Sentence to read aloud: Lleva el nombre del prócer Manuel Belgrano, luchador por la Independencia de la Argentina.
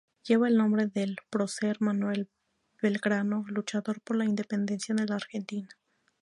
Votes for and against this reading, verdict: 0, 2, rejected